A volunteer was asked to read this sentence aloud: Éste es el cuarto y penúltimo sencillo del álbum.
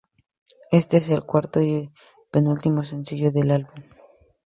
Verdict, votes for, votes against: accepted, 2, 0